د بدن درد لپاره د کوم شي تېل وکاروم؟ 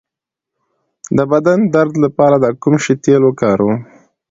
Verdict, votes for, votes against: accepted, 2, 0